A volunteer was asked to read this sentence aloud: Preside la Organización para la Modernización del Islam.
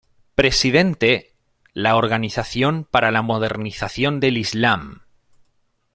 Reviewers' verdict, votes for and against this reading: rejected, 0, 2